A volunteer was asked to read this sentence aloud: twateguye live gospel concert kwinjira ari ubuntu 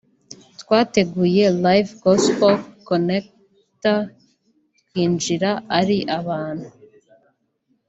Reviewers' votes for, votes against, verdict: 1, 2, rejected